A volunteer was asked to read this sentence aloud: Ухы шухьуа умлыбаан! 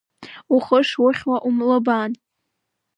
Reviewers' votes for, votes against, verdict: 0, 2, rejected